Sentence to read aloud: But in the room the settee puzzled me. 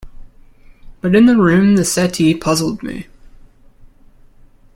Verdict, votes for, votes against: accepted, 2, 0